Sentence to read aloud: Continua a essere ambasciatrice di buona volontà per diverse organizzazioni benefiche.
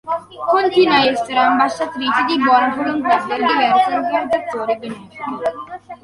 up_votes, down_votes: 1, 2